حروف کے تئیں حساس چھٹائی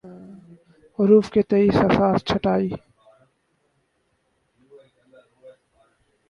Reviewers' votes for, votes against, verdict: 2, 2, rejected